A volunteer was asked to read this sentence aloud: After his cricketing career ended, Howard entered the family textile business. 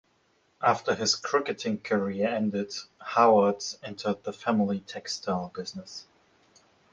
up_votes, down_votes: 2, 0